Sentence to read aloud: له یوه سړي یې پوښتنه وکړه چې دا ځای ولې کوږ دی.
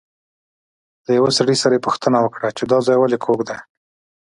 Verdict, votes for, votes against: accepted, 2, 0